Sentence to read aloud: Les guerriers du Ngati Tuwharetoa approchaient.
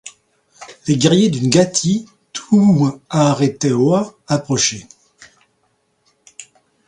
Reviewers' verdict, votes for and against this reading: accepted, 2, 1